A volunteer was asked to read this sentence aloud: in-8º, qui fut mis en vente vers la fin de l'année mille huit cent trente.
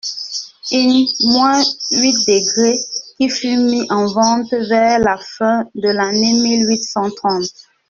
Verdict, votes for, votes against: rejected, 0, 2